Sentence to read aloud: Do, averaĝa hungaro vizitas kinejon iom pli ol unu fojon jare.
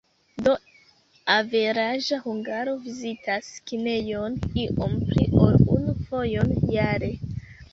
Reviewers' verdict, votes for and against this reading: accepted, 2, 0